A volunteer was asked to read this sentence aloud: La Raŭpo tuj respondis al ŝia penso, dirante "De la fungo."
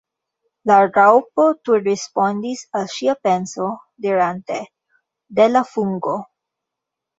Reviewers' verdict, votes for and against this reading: accepted, 2, 1